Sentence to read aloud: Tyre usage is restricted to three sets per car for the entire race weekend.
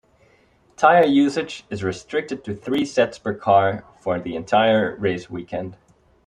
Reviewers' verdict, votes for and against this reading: accepted, 4, 0